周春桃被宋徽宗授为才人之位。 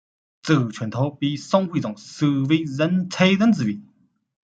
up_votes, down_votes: 0, 2